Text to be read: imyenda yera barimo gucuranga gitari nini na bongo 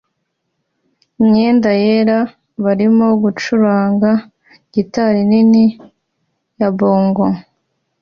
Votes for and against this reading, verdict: 2, 0, accepted